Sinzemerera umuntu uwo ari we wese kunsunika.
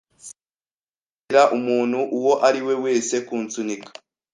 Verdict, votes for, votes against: accepted, 2, 0